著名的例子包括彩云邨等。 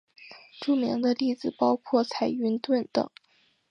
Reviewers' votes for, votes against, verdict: 4, 0, accepted